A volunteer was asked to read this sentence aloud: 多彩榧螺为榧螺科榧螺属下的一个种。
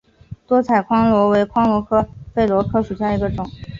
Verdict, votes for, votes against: accepted, 5, 0